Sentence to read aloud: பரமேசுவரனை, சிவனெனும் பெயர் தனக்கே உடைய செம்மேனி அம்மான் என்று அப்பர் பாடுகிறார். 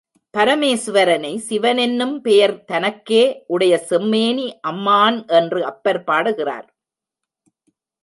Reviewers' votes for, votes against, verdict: 0, 2, rejected